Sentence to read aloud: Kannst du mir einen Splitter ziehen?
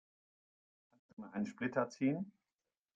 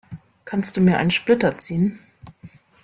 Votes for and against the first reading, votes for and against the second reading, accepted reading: 0, 2, 2, 0, second